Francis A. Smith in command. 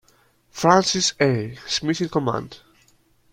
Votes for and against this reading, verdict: 2, 0, accepted